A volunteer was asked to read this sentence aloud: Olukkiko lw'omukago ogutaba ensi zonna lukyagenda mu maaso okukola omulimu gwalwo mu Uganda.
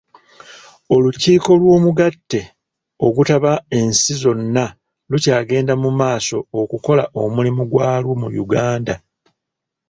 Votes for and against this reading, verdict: 0, 2, rejected